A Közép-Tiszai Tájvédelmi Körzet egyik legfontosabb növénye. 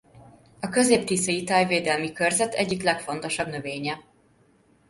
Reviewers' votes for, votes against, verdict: 2, 1, accepted